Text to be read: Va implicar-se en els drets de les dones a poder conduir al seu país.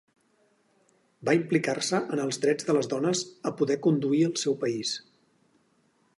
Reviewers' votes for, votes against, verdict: 4, 0, accepted